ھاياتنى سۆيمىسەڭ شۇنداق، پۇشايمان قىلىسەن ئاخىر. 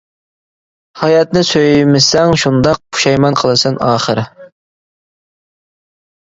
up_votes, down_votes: 1, 2